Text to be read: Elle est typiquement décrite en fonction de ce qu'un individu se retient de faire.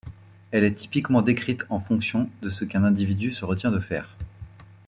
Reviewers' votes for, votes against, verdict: 2, 0, accepted